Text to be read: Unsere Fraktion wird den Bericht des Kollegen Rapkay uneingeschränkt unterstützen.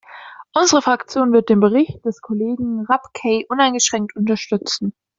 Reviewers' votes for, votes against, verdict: 2, 0, accepted